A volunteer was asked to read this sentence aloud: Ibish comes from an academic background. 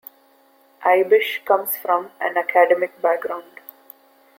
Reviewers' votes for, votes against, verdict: 2, 0, accepted